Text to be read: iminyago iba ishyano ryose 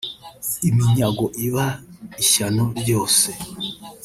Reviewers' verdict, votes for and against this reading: rejected, 1, 2